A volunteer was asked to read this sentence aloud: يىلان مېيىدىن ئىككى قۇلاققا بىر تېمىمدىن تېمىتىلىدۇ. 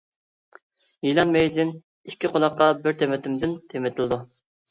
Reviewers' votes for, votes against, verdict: 0, 2, rejected